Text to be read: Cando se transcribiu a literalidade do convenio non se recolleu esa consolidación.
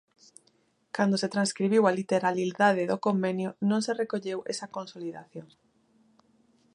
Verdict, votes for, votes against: rejected, 0, 2